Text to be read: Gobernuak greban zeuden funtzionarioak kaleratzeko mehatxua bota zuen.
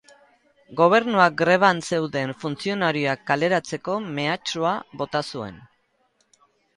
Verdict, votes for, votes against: rejected, 0, 2